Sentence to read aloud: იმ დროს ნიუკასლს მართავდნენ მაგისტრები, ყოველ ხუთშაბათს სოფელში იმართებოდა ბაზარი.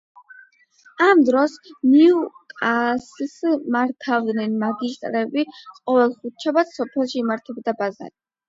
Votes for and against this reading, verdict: 0, 8, rejected